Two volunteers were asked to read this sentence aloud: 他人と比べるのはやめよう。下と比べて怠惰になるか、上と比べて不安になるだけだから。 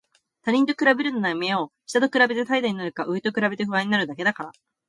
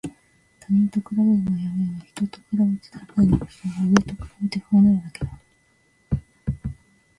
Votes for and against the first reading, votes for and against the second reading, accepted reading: 2, 0, 0, 2, first